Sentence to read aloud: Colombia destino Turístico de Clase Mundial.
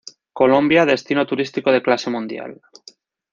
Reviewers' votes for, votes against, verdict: 2, 0, accepted